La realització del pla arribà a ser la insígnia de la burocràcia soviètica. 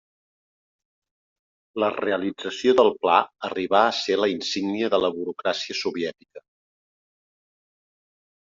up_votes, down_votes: 3, 0